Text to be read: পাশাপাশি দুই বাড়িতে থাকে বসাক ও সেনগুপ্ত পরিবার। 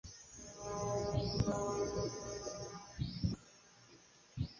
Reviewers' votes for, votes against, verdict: 0, 2, rejected